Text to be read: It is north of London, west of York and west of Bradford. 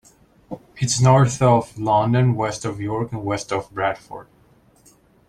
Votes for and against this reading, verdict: 2, 0, accepted